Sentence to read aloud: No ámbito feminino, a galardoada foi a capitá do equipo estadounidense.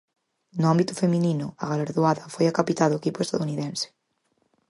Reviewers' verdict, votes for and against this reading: accepted, 4, 2